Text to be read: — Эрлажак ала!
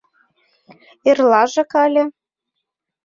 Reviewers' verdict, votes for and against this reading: rejected, 0, 2